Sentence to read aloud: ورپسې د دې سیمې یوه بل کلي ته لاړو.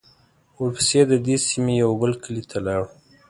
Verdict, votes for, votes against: accepted, 2, 0